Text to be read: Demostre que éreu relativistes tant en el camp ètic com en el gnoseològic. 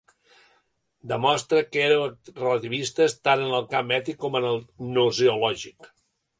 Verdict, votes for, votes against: rejected, 1, 2